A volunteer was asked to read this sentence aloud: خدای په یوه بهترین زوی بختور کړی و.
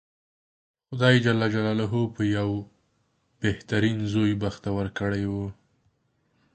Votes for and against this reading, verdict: 0, 2, rejected